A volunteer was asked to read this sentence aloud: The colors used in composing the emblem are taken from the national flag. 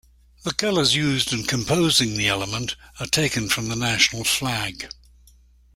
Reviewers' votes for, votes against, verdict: 0, 2, rejected